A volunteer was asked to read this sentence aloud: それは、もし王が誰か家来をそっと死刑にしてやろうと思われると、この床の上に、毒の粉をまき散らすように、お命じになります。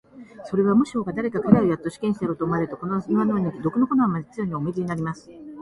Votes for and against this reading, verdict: 0, 2, rejected